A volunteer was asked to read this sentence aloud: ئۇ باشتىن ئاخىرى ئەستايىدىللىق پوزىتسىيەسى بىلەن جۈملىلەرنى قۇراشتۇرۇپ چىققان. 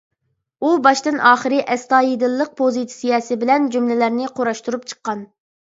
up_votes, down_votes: 3, 0